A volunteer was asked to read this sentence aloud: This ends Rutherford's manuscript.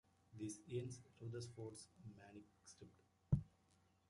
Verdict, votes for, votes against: rejected, 0, 2